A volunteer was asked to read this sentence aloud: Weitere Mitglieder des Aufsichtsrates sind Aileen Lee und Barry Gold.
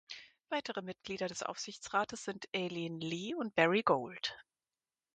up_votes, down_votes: 2, 4